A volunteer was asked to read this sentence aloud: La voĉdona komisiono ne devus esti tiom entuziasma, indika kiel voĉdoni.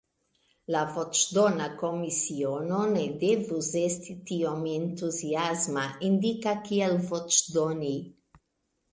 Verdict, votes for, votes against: accepted, 2, 0